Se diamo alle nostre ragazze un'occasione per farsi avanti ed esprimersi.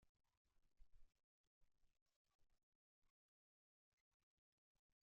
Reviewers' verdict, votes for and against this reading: rejected, 0, 2